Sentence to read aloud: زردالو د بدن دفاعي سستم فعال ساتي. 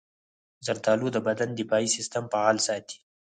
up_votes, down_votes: 4, 0